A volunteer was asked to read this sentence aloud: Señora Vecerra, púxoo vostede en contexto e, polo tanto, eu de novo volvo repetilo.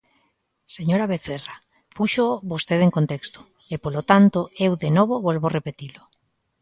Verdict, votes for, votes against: accepted, 2, 0